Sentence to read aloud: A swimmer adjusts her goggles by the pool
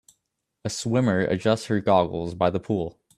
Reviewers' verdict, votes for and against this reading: accepted, 2, 0